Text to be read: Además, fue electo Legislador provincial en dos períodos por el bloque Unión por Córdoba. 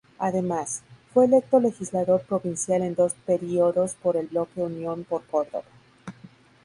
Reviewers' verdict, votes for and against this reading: accepted, 2, 0